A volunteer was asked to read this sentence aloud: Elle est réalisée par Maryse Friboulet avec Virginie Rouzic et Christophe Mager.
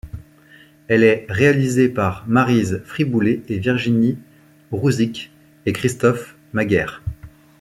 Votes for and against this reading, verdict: 0, 2, rejected